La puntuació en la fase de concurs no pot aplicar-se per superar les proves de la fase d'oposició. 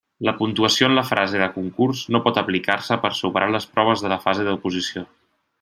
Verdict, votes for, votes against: rejected, 1, 2